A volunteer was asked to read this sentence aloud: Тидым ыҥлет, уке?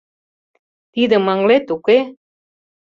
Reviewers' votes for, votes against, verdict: 2, 0, accepted